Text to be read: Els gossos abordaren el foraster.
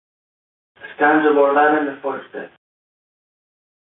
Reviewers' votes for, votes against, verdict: 0, 2, rejected